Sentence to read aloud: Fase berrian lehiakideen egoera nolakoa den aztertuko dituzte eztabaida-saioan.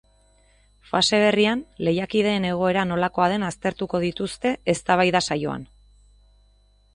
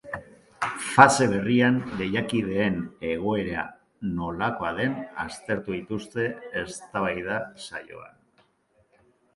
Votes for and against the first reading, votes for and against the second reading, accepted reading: 2, 0, 0, 2, first